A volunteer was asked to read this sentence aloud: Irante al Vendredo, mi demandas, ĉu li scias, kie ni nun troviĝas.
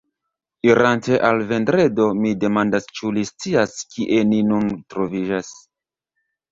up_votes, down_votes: 2, 0